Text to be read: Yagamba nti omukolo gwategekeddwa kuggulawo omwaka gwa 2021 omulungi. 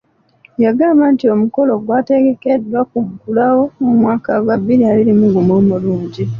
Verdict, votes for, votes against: rejected, 0, 2